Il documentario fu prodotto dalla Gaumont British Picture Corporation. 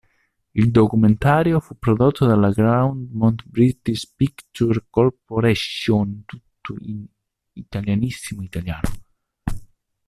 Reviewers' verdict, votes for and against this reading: rejected, 1, 2